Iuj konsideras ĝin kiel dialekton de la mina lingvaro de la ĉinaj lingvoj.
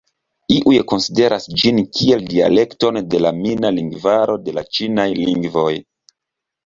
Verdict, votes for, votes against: accepted, 2, 0